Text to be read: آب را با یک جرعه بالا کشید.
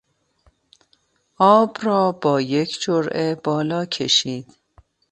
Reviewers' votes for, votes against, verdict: 2, 0, accepted